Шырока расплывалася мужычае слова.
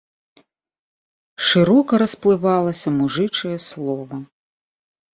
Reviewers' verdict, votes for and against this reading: accepted, 2, 0